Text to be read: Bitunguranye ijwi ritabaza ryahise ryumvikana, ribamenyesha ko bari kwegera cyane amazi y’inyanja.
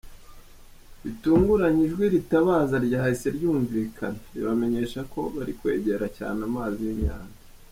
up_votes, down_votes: 1, 2